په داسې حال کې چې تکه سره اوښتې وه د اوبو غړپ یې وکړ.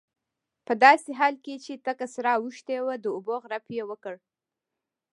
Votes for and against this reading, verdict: 1, 2, rejected